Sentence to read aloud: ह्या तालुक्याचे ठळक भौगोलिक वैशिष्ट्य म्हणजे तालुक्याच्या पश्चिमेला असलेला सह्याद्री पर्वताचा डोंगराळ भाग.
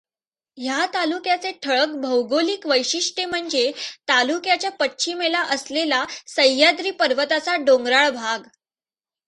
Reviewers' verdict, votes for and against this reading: accepted, 2, 1